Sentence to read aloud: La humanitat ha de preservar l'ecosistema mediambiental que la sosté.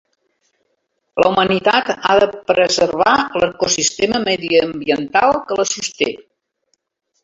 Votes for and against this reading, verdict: 2, 0, accepted